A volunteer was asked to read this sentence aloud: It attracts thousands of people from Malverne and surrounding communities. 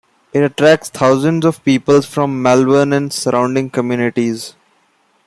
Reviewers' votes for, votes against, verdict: 2, 0, accepted